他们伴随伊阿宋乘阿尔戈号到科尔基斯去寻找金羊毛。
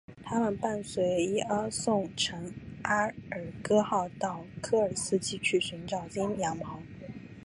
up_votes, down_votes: 2, 0